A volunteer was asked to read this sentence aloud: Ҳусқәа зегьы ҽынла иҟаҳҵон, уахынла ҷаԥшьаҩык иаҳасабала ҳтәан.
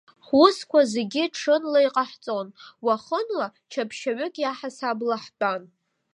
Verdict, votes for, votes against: rejected, 0, 2